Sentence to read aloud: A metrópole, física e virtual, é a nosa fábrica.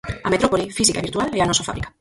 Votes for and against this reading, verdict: 2, 4, rejected